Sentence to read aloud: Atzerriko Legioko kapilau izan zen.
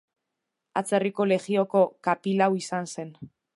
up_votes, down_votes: 1, 2